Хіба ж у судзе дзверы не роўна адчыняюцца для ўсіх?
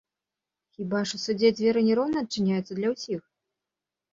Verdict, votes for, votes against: accepted, 2, 0